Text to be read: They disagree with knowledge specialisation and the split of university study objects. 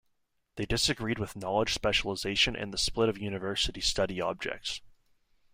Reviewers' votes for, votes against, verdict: 1, 2, rejected